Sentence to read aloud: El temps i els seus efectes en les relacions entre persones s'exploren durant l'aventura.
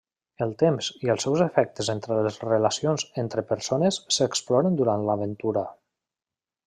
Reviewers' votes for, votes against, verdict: 0, 2, rejected